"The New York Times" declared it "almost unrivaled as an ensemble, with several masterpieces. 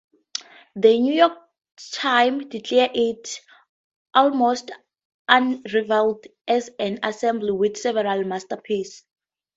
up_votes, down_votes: 2, 0